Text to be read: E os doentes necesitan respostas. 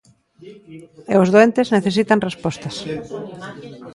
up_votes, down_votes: 0, 2